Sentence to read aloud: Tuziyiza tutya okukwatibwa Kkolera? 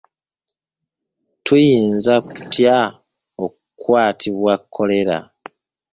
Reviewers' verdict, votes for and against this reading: rejected, 0, 2